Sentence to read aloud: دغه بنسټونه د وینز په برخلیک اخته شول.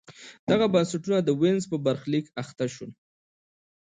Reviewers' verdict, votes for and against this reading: accepted, 2, 0